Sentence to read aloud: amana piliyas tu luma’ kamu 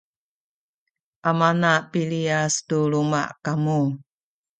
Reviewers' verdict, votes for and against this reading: rejected, 0, 2